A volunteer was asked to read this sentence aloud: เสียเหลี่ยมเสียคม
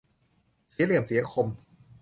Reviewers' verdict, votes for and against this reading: accepted, 2, 0